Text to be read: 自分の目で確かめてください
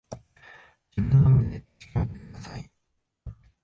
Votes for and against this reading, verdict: 0, 2, rejected